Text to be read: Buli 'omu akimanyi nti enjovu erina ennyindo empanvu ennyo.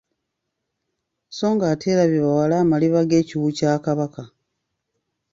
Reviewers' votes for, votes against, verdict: 1, 2, rejected